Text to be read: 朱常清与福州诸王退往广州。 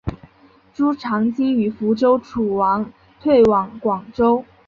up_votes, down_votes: 2, 0